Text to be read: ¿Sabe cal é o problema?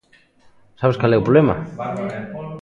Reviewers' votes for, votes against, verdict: 0, 2, rejected